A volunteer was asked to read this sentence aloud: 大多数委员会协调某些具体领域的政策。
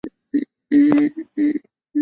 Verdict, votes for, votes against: rejected, 2, 3